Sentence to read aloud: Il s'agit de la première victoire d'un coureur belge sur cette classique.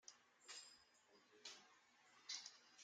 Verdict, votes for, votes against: rejected, 0, 2